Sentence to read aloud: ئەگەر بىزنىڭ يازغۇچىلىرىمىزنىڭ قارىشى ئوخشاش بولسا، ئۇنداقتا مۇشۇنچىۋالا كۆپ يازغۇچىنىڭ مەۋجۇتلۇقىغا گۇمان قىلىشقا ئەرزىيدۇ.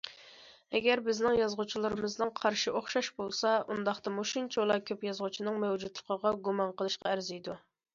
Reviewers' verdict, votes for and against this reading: accepted, 2, 0